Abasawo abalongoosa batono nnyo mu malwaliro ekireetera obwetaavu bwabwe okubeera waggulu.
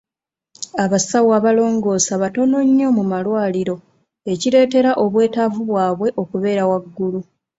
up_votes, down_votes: 2, 0